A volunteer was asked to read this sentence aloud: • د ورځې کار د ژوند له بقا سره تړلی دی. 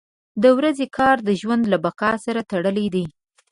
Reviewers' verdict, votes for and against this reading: accepted, 2, 0